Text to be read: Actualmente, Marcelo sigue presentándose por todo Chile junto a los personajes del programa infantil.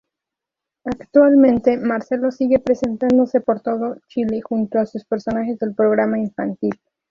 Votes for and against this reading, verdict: 0, 2, rejected